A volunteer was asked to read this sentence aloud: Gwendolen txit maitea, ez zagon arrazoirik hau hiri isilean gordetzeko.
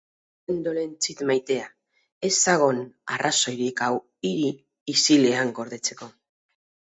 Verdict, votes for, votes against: rejected, 2, 2